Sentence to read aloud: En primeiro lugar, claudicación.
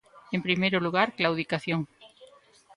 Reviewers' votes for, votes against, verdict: 0, 2, rejected